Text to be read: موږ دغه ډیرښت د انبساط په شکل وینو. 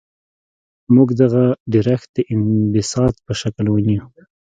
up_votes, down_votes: 2, 0